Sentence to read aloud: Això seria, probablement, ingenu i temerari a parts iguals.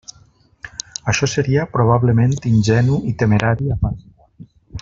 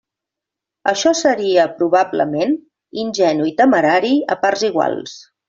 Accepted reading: second